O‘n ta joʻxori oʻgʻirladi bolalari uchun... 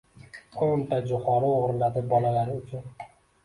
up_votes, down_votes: 2, 0